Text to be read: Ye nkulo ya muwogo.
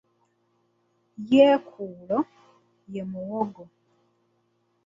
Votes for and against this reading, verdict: 1, 2, rejected